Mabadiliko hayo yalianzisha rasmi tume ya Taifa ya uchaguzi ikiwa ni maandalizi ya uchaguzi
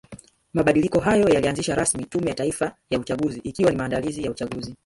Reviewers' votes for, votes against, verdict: 0, 2, rejected